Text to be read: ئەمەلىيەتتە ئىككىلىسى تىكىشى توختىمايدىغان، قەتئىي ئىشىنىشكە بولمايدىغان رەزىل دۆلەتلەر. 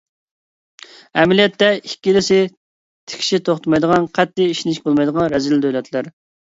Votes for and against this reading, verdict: 2, 0, accepted